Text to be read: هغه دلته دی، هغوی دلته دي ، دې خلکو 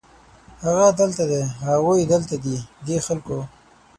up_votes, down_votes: 6, 0